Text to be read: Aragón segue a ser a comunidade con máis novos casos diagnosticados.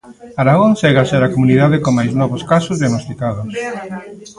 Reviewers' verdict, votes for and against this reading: rejected, 0, 2